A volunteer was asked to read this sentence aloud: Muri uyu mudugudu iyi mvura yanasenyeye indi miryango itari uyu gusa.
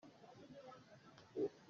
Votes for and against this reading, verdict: 0, 2, rejected